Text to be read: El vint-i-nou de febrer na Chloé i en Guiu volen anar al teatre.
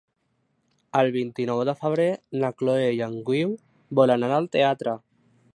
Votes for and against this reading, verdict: 1, 2, rejected